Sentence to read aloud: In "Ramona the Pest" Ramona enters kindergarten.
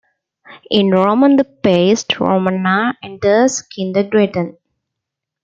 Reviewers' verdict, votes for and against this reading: accepted, 2, 1